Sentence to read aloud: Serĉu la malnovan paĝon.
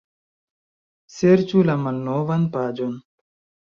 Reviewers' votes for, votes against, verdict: 1, 2, rejected